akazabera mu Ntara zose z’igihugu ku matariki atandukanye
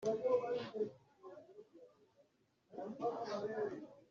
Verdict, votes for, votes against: rejected, 0, 2